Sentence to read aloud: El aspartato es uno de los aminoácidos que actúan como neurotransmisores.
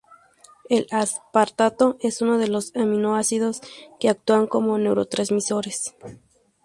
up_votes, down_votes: 2, 0